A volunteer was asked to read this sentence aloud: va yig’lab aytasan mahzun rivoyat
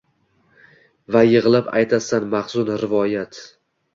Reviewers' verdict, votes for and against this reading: rejected, 1, 2